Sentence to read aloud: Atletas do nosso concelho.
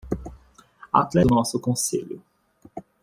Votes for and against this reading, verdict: 0, 2, rejected